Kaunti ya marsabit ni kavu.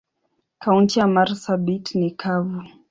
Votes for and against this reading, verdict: 2, 0, accepted